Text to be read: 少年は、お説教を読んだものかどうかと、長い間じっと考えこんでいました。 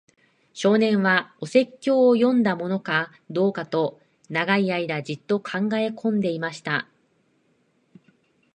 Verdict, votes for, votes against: accepted, 2, 0